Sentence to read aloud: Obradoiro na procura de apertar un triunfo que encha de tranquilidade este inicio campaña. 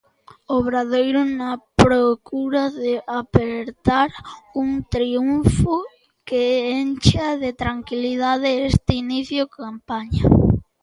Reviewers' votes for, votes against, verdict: 1, 2, rejected